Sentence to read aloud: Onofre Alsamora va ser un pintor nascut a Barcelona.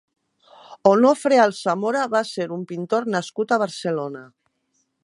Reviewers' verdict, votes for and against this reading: accepted, 2, 0